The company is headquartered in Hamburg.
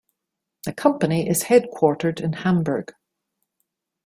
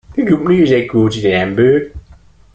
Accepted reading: first